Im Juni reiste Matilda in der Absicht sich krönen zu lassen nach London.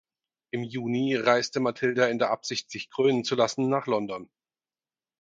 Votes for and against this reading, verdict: 4, 0, accepted